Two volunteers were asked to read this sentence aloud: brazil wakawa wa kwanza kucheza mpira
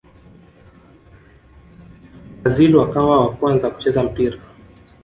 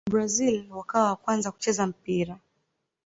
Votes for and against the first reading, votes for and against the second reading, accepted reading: 1, 2, 2, 1, second